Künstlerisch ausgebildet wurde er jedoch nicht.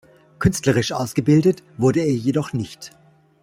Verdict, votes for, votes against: accepted, 2, 0